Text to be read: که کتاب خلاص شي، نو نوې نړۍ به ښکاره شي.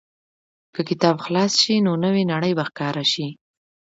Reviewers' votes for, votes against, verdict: 2, 1, accepted